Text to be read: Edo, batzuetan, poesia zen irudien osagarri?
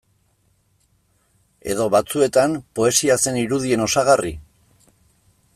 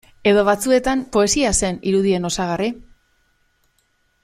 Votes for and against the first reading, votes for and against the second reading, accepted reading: 1, 2, 2, 0, second